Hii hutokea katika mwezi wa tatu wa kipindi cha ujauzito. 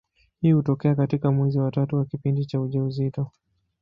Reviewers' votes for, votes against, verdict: 2, 0, accepted